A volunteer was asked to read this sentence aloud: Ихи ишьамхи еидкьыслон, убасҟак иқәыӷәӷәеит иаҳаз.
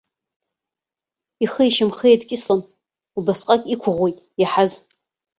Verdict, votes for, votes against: accepted, 2, 1